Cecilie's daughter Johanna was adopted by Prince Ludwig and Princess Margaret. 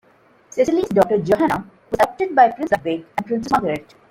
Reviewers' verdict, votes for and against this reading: rejected, 0, 2